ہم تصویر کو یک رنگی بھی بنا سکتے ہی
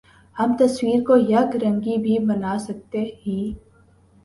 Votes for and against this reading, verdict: 2, 0, accepted